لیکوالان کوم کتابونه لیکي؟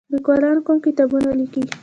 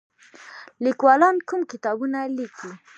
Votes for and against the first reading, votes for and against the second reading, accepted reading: 1, 2, 2, 0, second